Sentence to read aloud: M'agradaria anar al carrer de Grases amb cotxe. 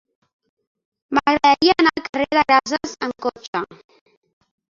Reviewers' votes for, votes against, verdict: 1, 4, rejected